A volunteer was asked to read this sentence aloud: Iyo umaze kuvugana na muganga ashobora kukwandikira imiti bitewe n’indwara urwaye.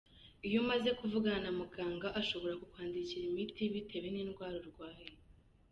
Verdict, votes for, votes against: accepted, 2, 0